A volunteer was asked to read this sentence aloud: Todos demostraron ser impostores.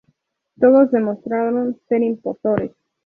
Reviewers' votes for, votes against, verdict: 2, 0, accepted